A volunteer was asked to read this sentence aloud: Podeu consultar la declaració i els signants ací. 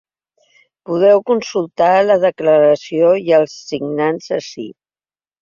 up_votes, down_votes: 3, 0